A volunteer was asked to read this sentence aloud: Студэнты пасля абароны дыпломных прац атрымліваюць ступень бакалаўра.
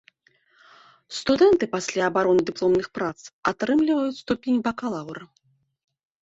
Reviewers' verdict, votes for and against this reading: accepted, 2, 0